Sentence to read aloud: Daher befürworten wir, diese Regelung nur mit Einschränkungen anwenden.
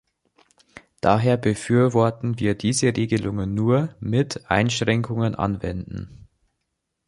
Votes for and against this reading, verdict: 1, 2, rejected